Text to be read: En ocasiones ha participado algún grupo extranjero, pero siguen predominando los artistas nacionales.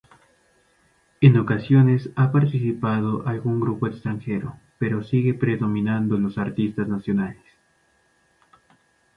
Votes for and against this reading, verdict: 0, 2, rejected